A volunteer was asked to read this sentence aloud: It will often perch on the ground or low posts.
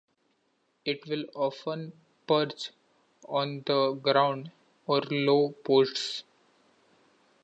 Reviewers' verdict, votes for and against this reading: rejected, 1, 2